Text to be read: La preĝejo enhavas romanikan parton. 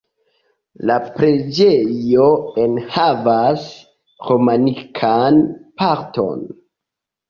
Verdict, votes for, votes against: accepted, 2, 1